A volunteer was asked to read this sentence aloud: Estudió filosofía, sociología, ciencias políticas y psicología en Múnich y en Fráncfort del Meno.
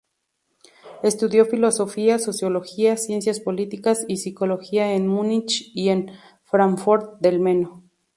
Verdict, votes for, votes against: rejected, 2, 2